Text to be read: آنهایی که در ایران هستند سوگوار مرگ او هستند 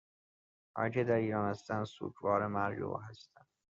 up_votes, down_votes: 2, 0